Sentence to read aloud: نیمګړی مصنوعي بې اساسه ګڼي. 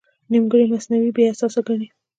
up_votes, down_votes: 3, 1